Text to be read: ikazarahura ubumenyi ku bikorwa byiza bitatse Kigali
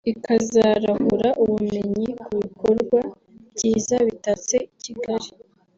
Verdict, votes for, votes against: accepted, 3, 0